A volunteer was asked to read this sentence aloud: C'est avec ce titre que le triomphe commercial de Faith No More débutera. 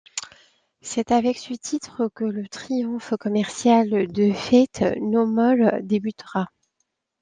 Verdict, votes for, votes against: rejected, 0, 2